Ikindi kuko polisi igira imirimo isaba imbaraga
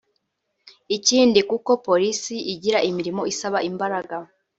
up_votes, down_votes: 2, 0